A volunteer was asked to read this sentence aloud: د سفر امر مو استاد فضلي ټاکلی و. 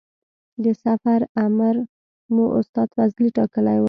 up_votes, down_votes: 2, 0